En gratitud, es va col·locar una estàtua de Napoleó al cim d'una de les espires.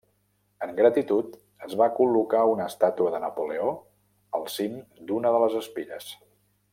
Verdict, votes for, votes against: accepted, 2, 0